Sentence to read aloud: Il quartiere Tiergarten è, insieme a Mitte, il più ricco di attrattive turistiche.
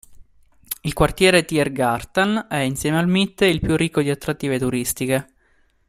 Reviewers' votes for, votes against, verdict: 2, 0, accepted